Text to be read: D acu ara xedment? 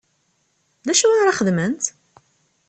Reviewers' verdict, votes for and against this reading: accepted, 2, 0